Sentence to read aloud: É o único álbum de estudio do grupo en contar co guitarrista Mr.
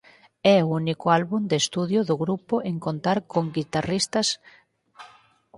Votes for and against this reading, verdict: 0, 4, rejected